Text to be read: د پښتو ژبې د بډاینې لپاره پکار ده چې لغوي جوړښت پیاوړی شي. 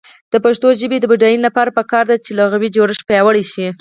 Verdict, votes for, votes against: rejected, 2, 4